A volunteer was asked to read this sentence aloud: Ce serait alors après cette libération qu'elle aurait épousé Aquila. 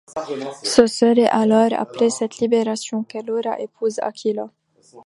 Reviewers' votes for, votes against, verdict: 1, 2, rejected